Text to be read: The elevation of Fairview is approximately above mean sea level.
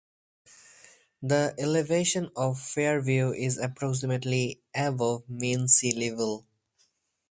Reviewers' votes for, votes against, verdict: 2, 2, rejected